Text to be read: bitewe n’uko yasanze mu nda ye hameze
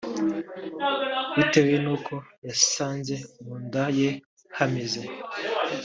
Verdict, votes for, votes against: accepted, 2, 0